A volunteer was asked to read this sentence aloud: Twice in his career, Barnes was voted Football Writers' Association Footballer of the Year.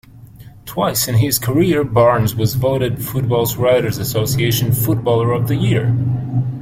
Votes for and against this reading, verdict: 1, 2, rejected